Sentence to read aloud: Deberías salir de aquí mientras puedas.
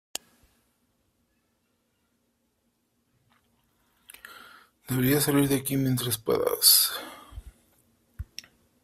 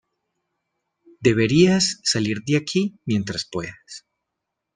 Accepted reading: second